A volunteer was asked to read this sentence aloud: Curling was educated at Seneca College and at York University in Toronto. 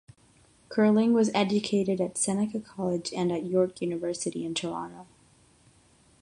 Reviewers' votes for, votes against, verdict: 6, 0, accepted